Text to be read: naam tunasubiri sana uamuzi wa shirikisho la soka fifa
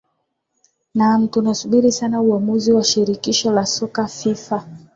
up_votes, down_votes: 2, 0